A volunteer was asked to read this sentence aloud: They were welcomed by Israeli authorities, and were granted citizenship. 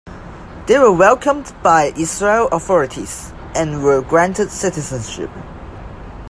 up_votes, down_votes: 1, 2